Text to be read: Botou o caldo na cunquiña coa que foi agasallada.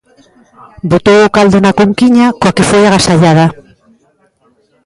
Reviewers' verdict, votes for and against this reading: rejected, 1, 2